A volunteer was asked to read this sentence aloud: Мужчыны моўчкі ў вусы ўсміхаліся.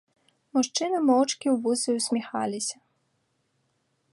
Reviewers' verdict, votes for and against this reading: accepted, 2, 0